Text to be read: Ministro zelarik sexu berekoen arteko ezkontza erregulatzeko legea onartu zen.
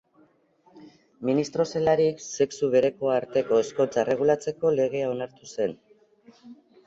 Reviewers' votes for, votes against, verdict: 0, 2, rejected